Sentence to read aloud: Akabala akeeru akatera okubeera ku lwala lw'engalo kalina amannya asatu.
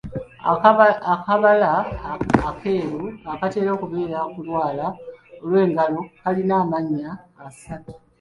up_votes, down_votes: 0, 2